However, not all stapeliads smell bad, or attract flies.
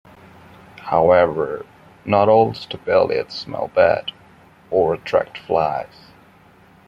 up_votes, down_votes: 1, 2